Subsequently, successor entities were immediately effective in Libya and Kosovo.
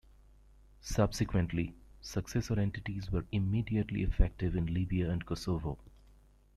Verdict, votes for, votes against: rejected, 1, 2